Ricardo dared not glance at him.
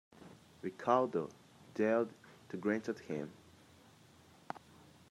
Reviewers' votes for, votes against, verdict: 0, 2, rejected